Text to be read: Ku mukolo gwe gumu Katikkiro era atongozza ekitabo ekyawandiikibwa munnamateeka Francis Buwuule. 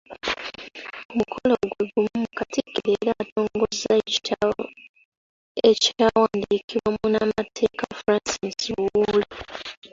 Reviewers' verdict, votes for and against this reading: rejected, 0, 2